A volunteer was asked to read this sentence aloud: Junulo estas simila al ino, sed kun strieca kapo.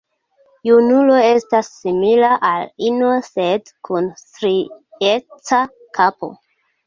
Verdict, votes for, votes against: accepted, 2, 0